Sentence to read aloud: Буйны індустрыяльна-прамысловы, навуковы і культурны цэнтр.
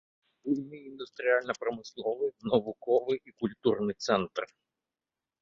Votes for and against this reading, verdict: 1, 2, rejected